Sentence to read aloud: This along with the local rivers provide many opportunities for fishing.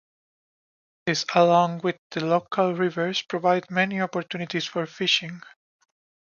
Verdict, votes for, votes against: accepted, 2, 0